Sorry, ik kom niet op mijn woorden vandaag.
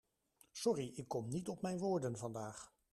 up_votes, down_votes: 2, 0